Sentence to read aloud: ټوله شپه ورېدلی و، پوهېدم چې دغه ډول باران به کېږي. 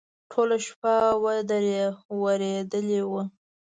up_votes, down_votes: 0, 2